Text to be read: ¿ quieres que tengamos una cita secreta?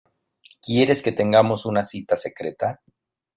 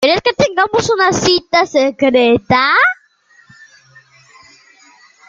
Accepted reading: first